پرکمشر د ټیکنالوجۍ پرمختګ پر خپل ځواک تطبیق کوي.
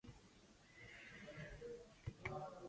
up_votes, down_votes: 0, 6